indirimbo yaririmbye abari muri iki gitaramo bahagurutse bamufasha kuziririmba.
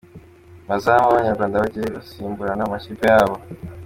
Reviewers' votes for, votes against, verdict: 0, 2, rejected